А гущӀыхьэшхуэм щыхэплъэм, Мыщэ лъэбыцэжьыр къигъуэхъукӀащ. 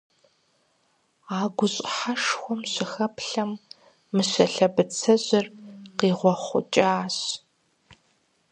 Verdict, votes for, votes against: accepted, 4, 0